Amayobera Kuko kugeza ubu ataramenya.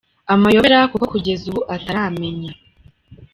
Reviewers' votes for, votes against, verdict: 1, 2, rejected